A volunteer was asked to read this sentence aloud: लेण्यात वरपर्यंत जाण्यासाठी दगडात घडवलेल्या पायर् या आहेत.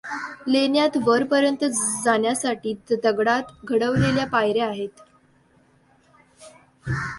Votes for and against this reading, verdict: 2, 0, accepted